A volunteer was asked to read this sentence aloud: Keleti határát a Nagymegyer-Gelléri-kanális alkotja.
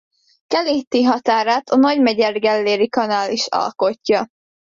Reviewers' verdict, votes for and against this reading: rejected, 0, 2